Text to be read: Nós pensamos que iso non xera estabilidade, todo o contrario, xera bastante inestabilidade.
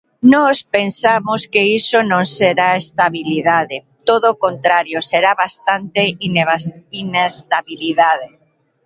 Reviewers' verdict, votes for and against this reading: rejected, 0, 2